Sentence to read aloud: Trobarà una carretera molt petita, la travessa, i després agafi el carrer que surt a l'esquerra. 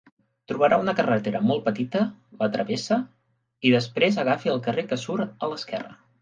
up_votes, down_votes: 3, 0